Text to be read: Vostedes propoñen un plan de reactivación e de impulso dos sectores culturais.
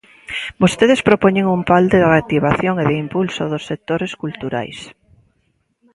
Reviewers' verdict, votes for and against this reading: rejected, 2, 3